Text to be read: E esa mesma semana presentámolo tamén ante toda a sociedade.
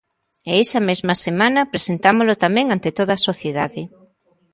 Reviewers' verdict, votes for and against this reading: accepted, 2, 0